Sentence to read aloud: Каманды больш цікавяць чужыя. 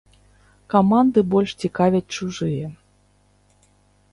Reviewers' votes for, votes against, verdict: 2, 0, accepted